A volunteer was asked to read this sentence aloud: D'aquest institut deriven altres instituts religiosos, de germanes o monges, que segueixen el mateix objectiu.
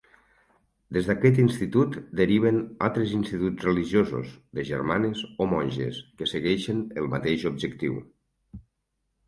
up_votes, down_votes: 0, 4